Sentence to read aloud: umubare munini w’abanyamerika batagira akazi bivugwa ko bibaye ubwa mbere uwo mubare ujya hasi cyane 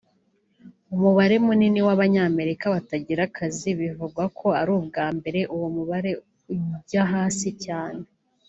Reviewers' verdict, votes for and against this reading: rejected, 1, 2